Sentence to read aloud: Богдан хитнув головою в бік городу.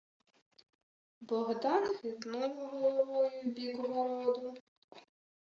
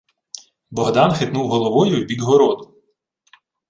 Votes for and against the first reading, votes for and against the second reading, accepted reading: 1, 2, 2, 0, second